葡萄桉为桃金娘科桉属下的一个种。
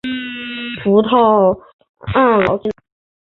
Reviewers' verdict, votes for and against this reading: rejected, 0, 3